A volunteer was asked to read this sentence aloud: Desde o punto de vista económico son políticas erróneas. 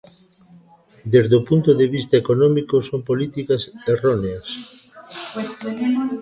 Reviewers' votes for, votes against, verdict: 1, 2, rejected